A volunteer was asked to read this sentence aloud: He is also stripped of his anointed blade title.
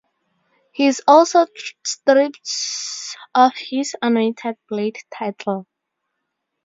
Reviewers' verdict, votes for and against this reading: rejected, 0, 2